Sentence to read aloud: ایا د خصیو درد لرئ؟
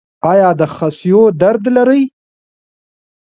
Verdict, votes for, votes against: rejected, 0, 2